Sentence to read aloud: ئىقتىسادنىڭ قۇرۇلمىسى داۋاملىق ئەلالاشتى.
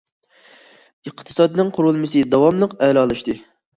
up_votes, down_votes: 2, 0